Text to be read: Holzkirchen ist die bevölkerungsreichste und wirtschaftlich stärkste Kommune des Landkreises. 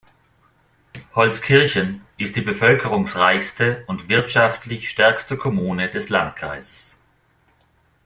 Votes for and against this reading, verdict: 2, 0, accepted